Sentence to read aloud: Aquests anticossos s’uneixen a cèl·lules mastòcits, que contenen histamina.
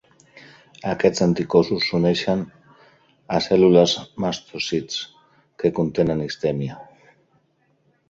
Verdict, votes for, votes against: rejected, 0, 2